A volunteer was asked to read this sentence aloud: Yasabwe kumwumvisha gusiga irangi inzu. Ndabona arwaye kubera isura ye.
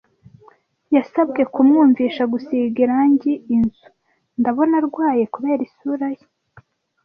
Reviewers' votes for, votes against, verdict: 2, 0, accepted